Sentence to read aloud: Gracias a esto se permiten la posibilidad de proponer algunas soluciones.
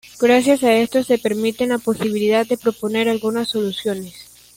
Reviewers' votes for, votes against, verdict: 2, 0, accepted